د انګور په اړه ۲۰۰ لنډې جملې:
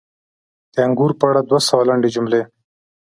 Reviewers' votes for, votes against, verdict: 0, 2, rejected